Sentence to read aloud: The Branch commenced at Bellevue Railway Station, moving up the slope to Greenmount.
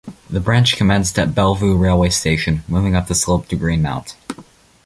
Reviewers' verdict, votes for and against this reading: accepted, 2, 0